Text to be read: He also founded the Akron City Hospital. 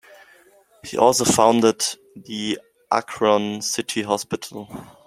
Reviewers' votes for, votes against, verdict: 2, 0, accepted